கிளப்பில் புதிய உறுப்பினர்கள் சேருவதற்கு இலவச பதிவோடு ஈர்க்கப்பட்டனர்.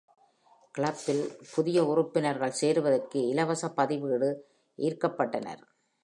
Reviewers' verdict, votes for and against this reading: accepted, 2, 0